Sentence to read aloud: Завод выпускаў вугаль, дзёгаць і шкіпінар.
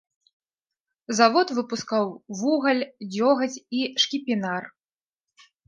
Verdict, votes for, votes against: accepted, 2, 0